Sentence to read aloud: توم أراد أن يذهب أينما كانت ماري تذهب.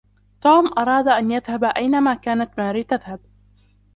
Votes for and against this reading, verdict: 0, 2, rejected